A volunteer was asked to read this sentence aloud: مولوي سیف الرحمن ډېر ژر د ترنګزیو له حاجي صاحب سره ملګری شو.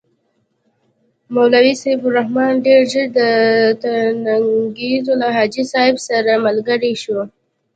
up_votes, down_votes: 1, 2